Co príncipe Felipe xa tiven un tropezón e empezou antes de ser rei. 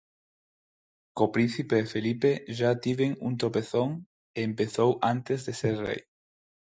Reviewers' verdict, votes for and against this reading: rejected, 0, 4